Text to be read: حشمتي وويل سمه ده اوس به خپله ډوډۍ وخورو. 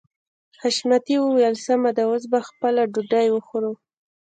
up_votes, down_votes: 1, 2